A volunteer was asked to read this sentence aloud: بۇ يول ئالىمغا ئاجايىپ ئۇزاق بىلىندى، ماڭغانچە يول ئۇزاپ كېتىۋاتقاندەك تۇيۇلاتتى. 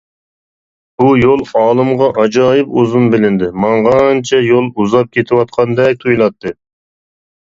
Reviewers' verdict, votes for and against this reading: rejected, 1, 2